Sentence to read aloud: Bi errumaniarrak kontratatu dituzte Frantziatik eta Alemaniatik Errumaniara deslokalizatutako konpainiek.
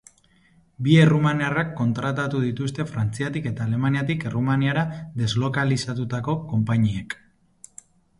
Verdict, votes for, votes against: accepted, 2, 0